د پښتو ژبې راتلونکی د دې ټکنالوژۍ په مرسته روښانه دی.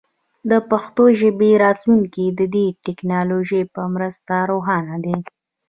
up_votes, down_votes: 2, 1